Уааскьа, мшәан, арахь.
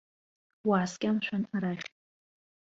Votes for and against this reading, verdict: 2, 0, accepted